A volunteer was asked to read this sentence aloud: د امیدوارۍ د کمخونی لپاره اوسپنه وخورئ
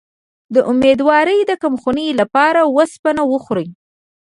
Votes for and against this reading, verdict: 1, 2, rejected